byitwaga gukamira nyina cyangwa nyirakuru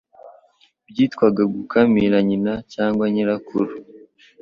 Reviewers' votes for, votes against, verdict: 2, 0, accepted